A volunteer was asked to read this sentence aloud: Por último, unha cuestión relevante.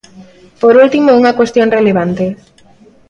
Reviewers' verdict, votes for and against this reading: accepted, 3, 0